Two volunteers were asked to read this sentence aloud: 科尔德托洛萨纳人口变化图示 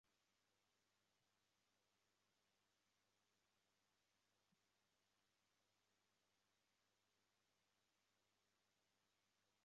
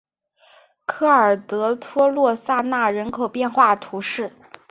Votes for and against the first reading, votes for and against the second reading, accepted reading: 0, 4, 2, 0, second